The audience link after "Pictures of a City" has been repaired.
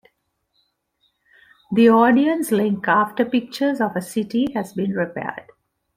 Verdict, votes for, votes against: accepted, 2, 0